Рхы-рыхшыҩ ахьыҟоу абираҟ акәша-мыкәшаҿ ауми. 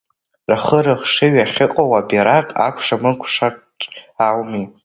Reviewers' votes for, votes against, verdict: 1, 2, rejected